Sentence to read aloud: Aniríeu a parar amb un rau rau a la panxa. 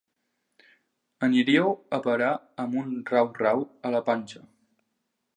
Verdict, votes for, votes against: accepted, 2, 0